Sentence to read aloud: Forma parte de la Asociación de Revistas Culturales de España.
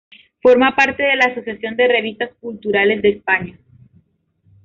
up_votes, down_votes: 2, 0